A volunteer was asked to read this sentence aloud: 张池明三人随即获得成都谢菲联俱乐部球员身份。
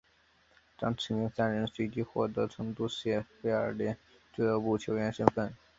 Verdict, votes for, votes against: rejected, 1, 2